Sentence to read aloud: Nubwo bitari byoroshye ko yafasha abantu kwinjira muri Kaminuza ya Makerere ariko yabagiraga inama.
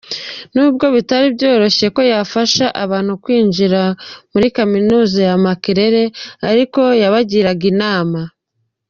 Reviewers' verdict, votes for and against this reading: accepted, 2, 0